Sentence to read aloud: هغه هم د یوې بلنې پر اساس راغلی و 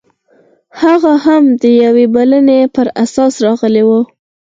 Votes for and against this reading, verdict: 6, 2, accepted